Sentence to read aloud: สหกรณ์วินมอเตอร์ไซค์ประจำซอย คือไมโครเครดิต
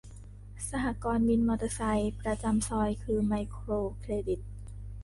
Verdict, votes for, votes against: accepted, 3, 0